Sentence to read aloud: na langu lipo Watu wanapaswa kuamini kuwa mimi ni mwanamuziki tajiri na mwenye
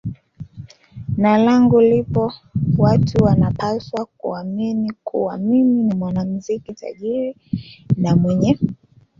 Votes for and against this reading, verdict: 2, 0, accepted